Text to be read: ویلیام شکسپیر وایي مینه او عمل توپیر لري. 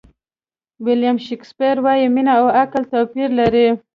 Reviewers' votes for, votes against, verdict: 0, 2, rejected